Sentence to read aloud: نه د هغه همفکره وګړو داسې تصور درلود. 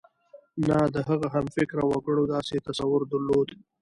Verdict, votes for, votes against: accepted, 2, 0